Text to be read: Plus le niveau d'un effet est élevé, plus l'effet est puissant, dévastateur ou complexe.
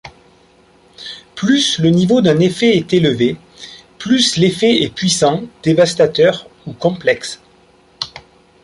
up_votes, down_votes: 2, 0